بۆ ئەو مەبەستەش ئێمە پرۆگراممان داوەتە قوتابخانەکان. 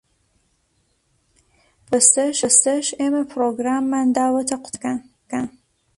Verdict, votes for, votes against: rejected, 0, 2